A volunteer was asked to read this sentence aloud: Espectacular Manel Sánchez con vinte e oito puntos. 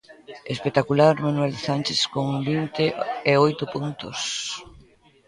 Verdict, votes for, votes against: rejected, 1, 2